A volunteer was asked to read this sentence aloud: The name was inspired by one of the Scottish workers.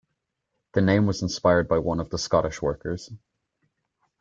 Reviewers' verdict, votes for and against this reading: accepted, 3, 0